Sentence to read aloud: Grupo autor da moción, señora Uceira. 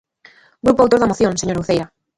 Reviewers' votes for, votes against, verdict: 0, 2, rejected